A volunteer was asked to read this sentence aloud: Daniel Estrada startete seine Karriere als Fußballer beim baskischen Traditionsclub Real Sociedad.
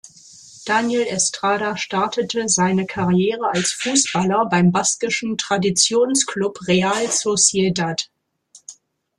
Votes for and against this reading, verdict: 2, 0, accepted